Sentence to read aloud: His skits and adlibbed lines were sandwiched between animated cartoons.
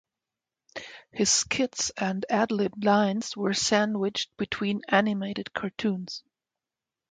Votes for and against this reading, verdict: 2, 0, accepted